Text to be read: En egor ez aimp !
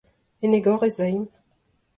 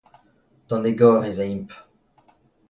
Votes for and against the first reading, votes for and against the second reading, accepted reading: 2, 0, 0, 2, first